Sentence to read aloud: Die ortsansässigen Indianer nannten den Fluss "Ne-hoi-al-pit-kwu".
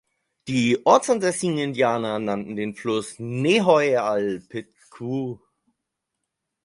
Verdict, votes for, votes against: accepted, 4, 0